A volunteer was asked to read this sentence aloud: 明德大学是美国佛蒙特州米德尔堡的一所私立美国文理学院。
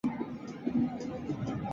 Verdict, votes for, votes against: rejected, 0, 3